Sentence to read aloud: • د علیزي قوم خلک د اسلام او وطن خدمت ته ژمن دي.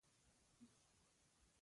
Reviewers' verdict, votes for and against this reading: rejected, 0, 2